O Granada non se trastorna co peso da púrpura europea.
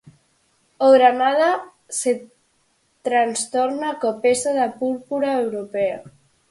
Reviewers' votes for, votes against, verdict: 0, 4, rejected